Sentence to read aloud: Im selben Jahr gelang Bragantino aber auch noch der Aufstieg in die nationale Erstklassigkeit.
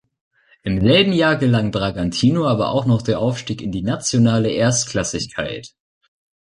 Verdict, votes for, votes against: rejected, 1, 2